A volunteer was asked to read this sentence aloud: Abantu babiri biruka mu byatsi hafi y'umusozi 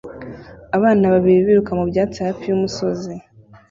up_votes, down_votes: 1, 2